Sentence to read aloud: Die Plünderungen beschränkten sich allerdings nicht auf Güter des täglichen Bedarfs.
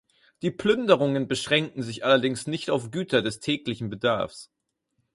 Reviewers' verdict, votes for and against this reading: rejected, 0, 4